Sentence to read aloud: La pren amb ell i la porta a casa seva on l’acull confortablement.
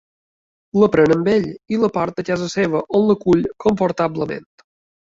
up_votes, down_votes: 2, 0